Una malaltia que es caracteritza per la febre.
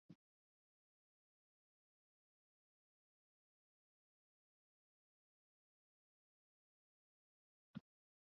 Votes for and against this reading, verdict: 0, 2, rejected